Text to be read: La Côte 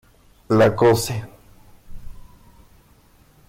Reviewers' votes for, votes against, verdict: 1, 2, rejected